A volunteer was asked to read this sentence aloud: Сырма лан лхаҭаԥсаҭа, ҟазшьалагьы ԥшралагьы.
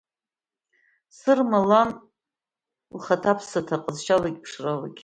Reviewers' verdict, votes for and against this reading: accepted, 2, 0